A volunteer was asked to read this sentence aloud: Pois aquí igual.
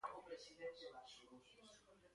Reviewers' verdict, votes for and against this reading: rejected, 0, 3